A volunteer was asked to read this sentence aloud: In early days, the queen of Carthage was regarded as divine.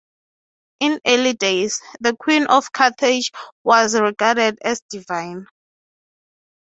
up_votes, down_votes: 6, 0